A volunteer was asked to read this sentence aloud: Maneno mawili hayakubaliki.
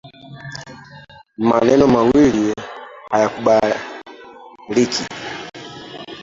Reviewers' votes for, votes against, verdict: 0, 2, rejected